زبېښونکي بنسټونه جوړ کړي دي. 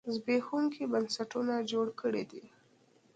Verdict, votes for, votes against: accepted, 2, 0